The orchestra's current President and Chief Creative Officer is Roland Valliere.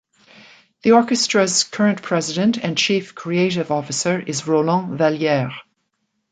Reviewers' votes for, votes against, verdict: 2, 1, accepted